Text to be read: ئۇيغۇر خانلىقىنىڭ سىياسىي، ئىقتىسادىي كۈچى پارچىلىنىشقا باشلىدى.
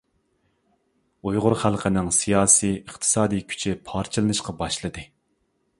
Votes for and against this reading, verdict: 0, 2, rejected